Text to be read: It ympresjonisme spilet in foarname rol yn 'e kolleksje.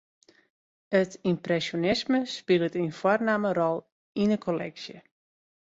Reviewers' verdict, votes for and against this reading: rejected, 0, 2